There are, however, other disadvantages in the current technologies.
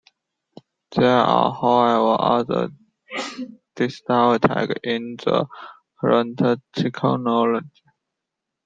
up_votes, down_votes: 0, 2